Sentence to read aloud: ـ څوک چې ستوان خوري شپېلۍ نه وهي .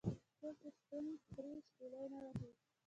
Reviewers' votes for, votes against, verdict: 2, 1, accepted